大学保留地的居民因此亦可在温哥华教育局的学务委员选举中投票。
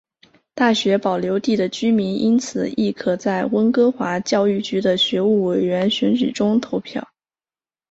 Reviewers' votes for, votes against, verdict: 4, 1, accepted